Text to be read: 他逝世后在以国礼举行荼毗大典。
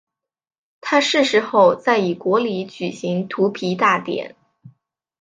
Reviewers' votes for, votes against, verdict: 2, 0, accepted